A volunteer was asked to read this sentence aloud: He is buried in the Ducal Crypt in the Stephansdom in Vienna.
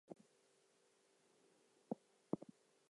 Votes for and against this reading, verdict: 0, 4, rejected